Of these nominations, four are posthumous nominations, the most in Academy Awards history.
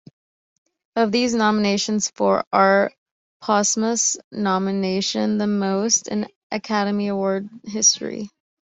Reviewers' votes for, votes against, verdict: 1, 2, rejected